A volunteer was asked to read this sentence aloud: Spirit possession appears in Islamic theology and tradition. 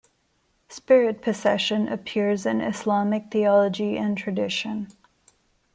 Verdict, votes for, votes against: rejected, 1, 2